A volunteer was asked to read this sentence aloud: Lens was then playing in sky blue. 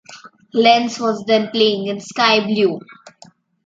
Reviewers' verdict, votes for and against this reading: accepted, 2, 0